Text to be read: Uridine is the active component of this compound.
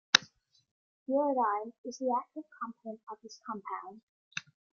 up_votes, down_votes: 2, 1